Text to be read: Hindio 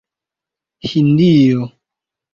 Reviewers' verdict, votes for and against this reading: accepted, 2, 0